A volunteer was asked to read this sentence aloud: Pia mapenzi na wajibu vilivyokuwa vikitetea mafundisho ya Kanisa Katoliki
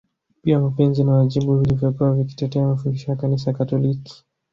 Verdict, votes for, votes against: accepted, 2, 0